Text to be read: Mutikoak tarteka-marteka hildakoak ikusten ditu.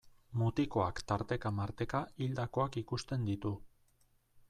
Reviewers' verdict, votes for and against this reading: accepted, 2, 0